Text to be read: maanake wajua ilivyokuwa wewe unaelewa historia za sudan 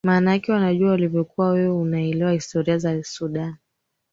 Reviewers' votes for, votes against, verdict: 2, 0, accepted